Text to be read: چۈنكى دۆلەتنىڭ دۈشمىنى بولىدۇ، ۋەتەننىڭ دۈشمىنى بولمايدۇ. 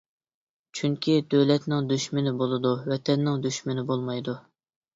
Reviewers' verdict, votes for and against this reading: accepted, 2, 0